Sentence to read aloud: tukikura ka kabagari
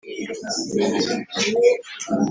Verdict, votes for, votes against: rejected, 1, 2